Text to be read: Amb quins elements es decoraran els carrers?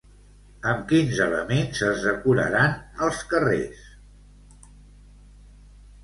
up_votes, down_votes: 2, 0